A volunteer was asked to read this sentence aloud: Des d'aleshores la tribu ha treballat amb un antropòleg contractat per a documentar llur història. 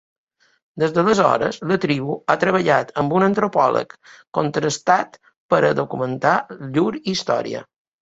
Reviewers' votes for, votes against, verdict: 0, 2, rejected